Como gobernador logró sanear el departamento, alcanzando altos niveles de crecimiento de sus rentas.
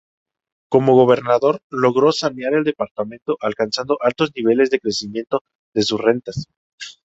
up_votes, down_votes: 2, 0